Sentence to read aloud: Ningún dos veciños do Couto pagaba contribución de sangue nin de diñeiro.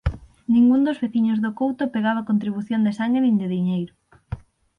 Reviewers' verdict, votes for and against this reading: rejected, 0, 6